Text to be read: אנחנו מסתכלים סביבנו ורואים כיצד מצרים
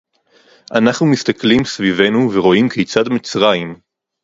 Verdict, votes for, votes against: rejected, 0, 2